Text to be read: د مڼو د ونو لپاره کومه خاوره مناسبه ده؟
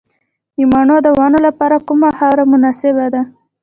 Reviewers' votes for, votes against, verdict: 1, 2, rejected